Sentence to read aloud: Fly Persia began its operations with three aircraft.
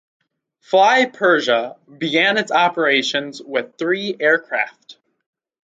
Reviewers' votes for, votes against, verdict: 2, 2, rejected